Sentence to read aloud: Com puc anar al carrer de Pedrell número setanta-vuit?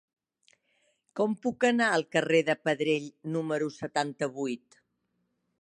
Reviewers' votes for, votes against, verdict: 4, 0, accepted